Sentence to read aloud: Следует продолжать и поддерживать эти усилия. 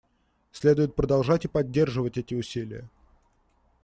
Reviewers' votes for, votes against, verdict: 2, 0, accepted